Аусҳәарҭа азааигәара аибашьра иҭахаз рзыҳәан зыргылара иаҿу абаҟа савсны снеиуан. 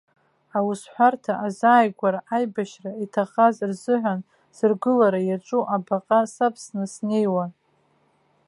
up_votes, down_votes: 0, 2